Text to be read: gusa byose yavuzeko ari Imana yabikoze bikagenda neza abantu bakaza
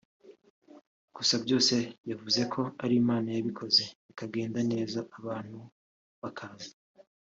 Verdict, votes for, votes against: rejected, 0, 2